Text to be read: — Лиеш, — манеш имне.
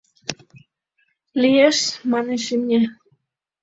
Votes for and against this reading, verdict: 3, 0, accepted